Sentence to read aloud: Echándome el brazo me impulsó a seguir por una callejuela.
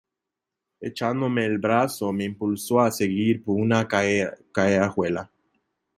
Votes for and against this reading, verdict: 1, 2, rejected